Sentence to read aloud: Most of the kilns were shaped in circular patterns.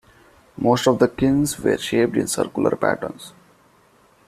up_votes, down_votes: 2, 1